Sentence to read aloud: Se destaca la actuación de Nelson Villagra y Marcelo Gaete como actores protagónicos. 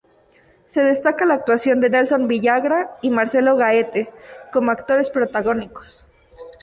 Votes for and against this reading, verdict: 0, 2, rejected